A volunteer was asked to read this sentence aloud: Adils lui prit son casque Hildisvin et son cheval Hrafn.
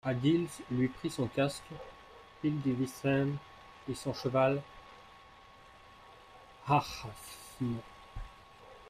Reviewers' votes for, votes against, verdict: 0, 2, rejected